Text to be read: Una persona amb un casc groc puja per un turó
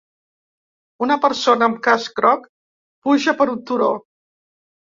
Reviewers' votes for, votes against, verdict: 1, 2, rejected